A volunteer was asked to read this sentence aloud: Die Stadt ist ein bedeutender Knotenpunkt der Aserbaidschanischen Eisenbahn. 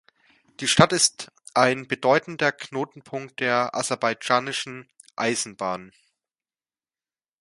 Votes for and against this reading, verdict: 2, 0, accepted